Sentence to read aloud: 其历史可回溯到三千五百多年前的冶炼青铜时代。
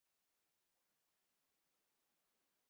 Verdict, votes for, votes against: rejected, 0, 2